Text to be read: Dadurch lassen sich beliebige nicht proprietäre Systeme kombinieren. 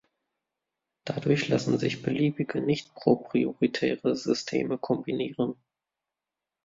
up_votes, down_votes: 1, 2